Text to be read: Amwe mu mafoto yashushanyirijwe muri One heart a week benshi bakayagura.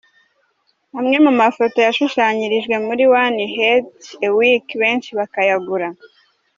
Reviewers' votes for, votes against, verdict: 1, 2, rejected